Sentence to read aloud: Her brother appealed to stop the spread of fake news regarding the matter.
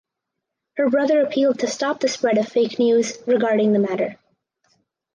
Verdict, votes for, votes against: accepted, 4, 0